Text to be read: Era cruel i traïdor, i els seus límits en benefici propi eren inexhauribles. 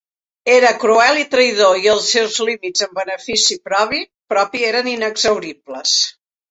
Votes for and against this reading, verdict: 0, 3, rejected